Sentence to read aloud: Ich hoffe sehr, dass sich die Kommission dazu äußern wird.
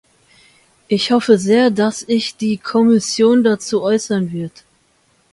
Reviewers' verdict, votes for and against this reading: rejected, 0, 2